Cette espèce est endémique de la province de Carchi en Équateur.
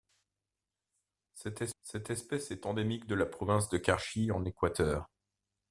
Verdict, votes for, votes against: rejected, 1, 2